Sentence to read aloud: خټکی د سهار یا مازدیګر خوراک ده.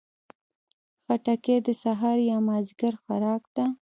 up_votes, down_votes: 2, 0